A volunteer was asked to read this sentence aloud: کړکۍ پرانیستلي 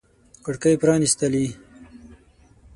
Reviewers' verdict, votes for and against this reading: rejected, 0, 6